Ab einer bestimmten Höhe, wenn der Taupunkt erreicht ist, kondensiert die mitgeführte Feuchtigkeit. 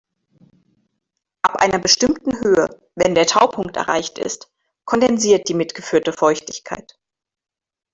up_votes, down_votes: 1, 2